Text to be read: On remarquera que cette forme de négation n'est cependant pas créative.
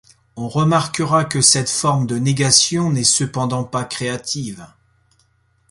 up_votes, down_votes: 2, 0